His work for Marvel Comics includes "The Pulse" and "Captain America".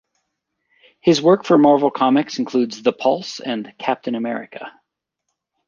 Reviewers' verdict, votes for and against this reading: accepted, 2, 0